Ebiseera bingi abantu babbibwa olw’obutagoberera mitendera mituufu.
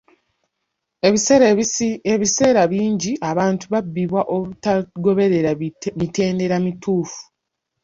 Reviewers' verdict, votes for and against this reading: rejected, 0, 2